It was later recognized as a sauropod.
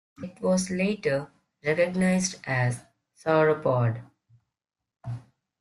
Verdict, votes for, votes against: rejected, 0, 2